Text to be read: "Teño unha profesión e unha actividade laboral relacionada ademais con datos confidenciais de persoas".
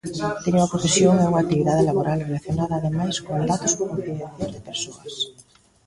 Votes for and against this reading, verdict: 0, 2, rejected